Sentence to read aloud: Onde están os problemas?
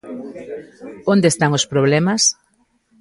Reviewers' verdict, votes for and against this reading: accepted, 2, 0